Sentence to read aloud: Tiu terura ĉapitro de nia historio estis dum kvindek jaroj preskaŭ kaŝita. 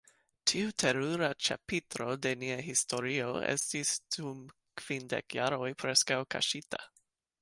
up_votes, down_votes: 0, 2